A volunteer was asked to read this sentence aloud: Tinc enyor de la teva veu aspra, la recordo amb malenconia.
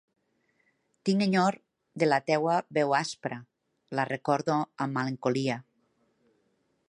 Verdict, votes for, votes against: rejected, 1, 2